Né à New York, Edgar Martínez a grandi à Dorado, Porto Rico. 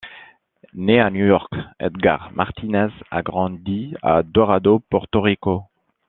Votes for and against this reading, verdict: 2, 0, accepted